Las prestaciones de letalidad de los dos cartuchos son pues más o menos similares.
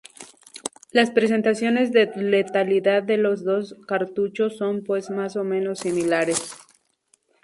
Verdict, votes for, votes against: rejected, 0, 2